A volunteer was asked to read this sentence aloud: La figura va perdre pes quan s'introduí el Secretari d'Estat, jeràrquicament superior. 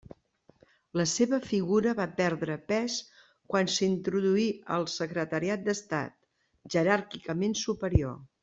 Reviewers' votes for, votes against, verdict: 0, 2, rejected